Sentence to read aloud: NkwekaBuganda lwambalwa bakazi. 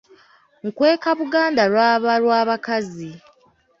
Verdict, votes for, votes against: rejected, 1, 3